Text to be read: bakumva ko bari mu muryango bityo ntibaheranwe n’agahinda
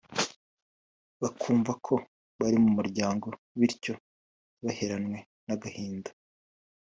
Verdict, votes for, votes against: rejected, 1, 2